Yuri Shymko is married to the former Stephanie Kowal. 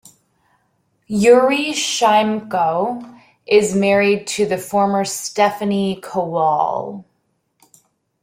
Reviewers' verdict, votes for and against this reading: accepted, 2, 0